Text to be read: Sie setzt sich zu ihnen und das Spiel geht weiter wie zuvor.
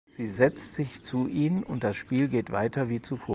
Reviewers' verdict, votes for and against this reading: rejected, 0, 4